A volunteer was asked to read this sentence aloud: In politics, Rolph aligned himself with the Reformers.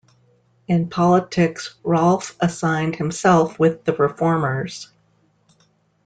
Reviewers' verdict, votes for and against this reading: rejected, 0, 2